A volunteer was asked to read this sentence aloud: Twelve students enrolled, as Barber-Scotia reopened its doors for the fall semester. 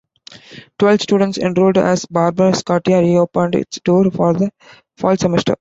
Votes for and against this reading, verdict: 1, 2, rejected